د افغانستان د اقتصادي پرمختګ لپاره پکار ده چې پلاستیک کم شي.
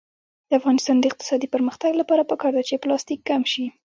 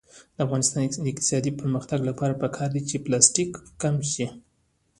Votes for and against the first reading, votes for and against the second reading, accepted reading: 1, 2, 2, 1, second